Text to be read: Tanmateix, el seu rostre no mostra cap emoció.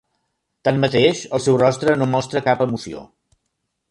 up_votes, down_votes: 3, 0